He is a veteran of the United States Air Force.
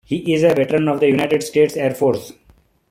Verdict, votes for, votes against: accepted, 2, 0